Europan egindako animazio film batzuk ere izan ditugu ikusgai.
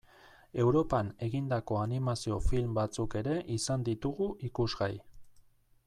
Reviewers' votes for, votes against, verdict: 2, 0, accepted